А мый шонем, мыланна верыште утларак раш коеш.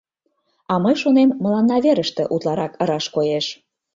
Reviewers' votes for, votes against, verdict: 2, 0, accepted